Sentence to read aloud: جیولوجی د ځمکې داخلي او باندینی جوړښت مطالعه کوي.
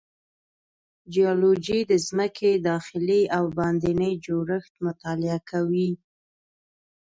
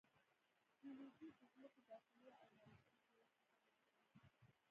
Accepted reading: first